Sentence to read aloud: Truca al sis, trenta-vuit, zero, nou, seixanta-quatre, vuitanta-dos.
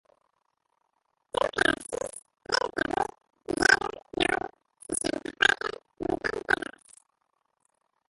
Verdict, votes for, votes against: rejected, 0, 3